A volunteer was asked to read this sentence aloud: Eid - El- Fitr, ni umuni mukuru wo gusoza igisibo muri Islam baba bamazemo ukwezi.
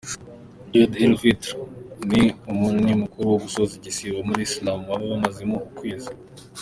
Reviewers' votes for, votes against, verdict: 0, 2, rejected